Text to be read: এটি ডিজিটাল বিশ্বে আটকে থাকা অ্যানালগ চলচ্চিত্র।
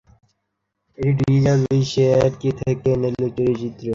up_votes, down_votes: 0, 3